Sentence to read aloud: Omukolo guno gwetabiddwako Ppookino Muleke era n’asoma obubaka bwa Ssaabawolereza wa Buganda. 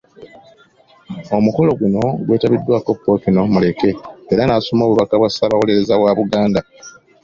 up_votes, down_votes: 2, 0